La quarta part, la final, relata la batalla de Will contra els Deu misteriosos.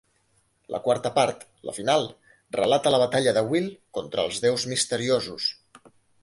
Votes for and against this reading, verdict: 1, 3, rejected